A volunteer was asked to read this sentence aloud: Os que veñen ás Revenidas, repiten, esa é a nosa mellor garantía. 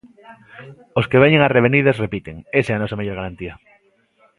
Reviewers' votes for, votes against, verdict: 2, 0, accepted